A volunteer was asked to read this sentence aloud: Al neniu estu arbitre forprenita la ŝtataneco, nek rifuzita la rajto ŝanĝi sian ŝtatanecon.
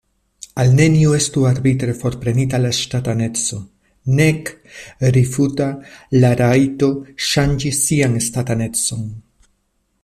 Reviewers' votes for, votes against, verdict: 0, 2, rejected